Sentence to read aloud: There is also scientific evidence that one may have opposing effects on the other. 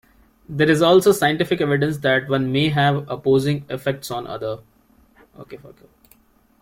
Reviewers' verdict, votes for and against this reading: rejected, 1, 2